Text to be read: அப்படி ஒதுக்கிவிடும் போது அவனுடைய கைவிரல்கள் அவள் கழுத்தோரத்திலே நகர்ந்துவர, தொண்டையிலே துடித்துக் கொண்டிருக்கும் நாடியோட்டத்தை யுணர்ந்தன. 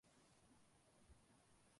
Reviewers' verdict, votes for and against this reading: rejected, 0, 2